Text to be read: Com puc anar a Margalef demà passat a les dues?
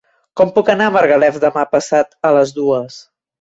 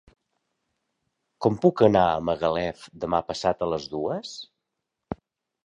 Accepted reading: first